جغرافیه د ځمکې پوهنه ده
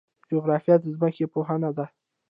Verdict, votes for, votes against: rejected, 0, 2